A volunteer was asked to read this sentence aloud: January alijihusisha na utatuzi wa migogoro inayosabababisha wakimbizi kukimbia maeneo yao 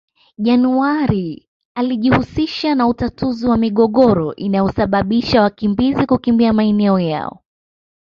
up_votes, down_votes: 2, 0